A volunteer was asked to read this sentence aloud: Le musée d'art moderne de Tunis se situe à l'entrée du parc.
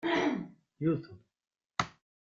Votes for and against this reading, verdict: 0, 2, rejected